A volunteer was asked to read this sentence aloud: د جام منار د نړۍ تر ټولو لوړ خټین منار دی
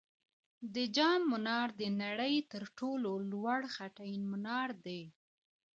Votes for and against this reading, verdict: 0, 2, rejected